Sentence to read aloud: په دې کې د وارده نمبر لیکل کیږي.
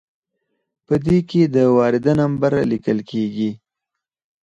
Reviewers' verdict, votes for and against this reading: rejected, 0, 4